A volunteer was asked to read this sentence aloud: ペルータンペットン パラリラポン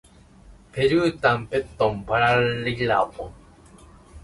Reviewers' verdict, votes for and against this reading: rejected, 1, 2